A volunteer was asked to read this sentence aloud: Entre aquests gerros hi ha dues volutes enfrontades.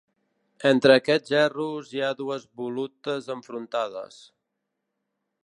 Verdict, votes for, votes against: accepted, 3, 0